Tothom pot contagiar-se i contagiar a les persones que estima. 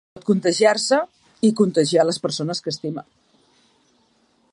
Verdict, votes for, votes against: rejected, 0, 2